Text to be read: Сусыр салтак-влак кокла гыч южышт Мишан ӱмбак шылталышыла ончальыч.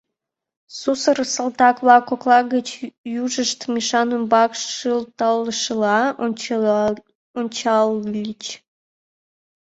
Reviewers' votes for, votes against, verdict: 0, 2, rejected